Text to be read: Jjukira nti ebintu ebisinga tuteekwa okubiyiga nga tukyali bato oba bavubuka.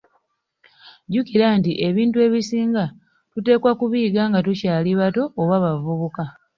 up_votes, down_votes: 1, 2